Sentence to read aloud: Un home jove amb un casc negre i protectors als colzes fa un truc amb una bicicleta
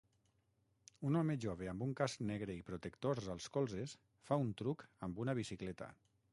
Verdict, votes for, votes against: rejected, 3, 6